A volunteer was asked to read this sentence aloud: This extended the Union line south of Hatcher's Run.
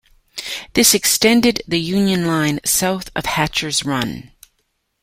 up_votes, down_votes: 2, 0